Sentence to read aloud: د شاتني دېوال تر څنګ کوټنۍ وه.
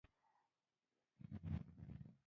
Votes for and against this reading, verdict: 0, 2, rejected